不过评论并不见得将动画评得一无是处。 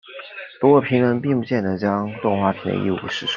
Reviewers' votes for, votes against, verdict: 0, 2, rejected